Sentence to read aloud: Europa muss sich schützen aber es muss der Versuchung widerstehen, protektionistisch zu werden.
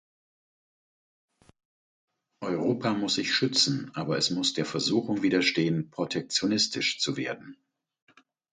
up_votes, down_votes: 4, 0